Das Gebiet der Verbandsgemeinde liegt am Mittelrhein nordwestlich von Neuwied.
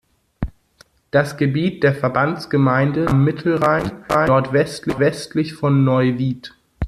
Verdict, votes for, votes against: rejected, 0, 2